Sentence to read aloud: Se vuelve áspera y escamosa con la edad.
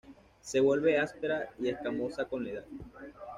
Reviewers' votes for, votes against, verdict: 1, 2, rejected